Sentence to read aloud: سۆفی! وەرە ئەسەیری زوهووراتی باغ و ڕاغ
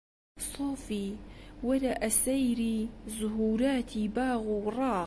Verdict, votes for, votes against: accepted, 2, 0